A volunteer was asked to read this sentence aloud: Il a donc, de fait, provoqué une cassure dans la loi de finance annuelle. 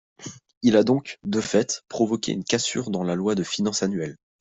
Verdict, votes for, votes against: accepted, 2, 0